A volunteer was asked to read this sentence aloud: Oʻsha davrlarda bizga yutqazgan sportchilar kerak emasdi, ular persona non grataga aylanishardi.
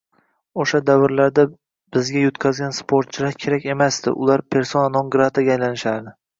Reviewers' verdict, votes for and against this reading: accepted, 2, 0